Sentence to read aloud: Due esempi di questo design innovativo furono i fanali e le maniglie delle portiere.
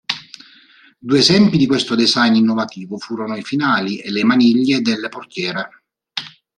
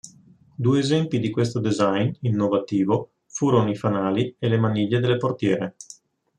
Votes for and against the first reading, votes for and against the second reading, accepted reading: 1, 4, 3, 0, second